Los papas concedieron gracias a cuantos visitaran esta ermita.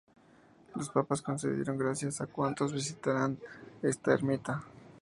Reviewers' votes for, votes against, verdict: 0, 2, rejected